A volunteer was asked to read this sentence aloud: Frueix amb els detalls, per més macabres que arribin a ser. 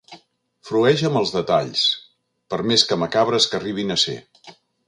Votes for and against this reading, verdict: 0, 2, rejected